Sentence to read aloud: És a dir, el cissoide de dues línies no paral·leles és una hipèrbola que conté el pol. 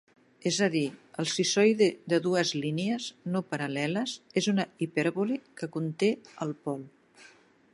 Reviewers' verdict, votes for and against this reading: rejected, 1, 2